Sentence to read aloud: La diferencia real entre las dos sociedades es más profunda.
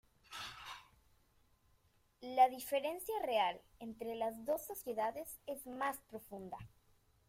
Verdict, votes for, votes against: rejected, 0, 2